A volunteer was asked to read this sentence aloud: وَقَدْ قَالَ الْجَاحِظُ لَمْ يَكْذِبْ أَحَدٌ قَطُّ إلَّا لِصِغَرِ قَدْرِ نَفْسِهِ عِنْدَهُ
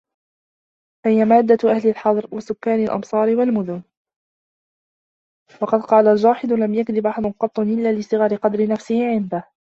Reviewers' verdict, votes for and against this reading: rejected, 1, 2